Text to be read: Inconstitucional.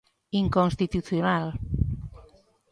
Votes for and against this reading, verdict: 1, 2, rejected